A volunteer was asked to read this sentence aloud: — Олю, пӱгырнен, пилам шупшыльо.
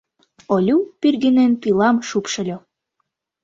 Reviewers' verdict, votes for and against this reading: rejected, 1, 2